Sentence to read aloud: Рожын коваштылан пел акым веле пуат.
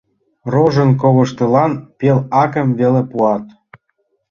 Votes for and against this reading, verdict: 2, 1, accepted